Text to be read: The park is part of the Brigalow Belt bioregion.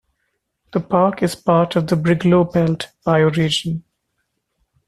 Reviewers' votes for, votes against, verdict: 2, 0, accepted